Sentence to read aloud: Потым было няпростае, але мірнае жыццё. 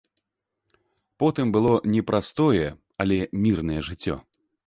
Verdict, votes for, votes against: rejected, 1, 2